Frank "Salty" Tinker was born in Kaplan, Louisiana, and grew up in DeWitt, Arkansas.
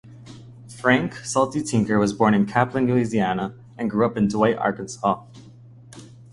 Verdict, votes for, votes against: accepted, 2, 0